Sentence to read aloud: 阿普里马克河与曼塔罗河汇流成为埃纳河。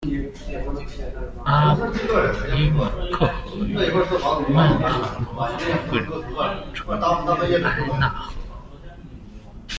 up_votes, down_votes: 0, 2